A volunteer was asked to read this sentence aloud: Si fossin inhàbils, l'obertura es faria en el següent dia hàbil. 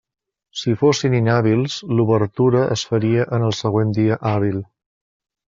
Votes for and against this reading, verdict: 3, 0, accepted